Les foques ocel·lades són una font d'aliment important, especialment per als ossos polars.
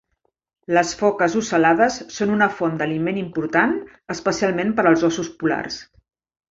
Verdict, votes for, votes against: rejected, 1, 2